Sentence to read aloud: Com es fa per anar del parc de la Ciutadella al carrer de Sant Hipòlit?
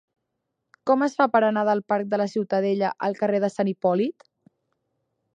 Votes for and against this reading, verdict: 4, 0, accepted